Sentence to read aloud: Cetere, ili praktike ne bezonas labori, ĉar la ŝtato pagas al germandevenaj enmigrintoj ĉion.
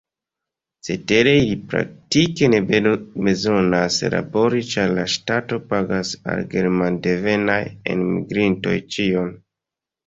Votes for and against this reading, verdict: 0, 2, rejected